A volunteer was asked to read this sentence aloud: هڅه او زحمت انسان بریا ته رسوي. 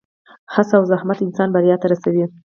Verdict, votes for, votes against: accepted, 4, 0